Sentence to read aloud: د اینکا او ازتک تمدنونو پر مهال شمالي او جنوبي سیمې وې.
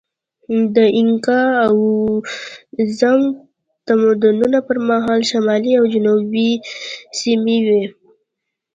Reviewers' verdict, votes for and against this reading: accepted, 2, 1